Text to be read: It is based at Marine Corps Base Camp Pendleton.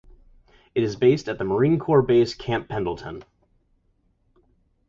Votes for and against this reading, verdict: 2, 2, rejected